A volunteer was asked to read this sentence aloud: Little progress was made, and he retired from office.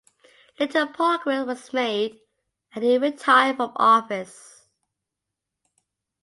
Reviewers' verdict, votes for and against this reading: accepted, 2, 0